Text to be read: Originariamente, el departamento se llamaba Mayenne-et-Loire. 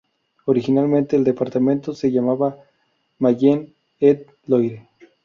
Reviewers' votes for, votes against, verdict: 0, 4, rejected